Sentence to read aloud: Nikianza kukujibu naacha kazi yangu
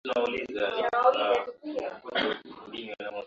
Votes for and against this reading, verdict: 0, 2, rejected